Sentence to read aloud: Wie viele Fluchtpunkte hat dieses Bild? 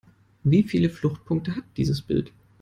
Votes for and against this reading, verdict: 2, 0, accepted